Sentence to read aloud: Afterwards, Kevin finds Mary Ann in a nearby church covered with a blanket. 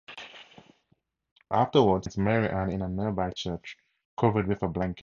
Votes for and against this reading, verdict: 0, 2, rejected